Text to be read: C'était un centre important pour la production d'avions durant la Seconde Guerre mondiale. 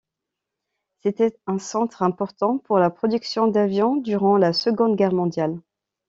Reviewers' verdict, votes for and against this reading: accepted, 2, 0